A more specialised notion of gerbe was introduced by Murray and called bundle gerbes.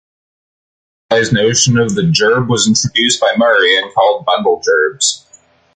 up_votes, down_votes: 0, 2